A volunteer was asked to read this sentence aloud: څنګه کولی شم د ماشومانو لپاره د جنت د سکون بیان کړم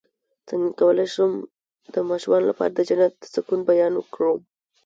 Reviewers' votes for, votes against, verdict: 2, 0, accepted